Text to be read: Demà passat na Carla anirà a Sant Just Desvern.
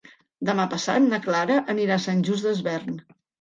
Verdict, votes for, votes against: rejected, 1, 2